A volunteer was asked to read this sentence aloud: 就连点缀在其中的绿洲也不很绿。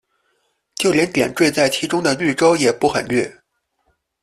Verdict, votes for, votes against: accepted, 3, 0